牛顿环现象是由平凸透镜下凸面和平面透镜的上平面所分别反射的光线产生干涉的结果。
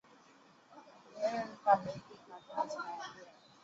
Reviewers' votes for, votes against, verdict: 1, 4, rejected